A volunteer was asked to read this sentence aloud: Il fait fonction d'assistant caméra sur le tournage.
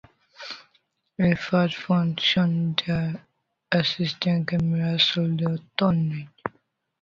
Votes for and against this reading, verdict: 0, 2, rejected